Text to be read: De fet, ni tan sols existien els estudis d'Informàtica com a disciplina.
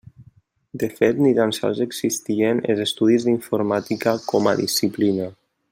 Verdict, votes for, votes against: rejected, 1, 2